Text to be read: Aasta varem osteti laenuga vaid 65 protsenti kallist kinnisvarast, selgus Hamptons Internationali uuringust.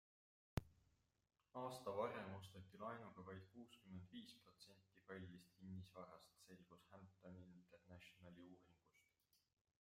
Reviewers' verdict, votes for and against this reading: rejected, 0, 2